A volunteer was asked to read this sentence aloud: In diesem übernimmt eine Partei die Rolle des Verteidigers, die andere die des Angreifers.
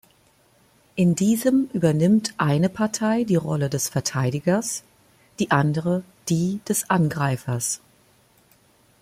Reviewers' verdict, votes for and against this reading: accepted, 2, 0